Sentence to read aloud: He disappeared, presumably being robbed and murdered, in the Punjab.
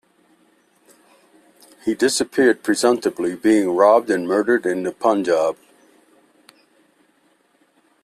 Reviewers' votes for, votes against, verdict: 0, 2, rejected